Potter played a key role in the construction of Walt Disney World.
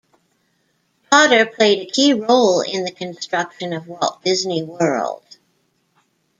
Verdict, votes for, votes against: rejected, 0, 2